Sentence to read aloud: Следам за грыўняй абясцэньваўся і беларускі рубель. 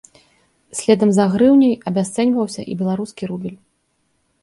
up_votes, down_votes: 1, 2